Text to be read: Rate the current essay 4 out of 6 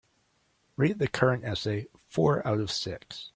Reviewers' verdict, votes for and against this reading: rejected, 0, 2